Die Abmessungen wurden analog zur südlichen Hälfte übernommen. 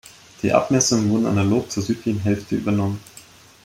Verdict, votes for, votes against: rejected, 1, 2